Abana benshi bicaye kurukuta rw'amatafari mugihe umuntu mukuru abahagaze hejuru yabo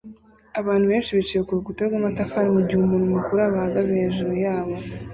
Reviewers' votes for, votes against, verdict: 1, 2, rejected